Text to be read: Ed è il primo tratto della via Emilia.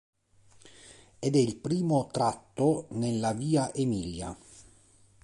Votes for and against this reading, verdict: 1, 3, rejected